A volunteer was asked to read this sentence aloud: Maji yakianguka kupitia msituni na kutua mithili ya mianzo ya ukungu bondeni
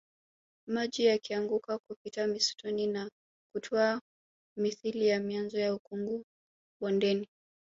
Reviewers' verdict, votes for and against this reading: rejected, 1, 2